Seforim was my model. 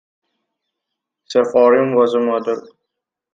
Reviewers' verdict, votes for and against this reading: rejected, 0, 2